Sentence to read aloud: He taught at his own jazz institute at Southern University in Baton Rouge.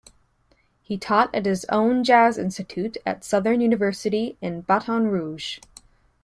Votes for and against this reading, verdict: 2, 0, accepted